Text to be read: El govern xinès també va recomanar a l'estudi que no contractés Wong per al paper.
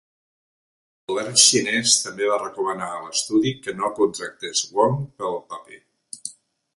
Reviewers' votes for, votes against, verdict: 1, 2, rejected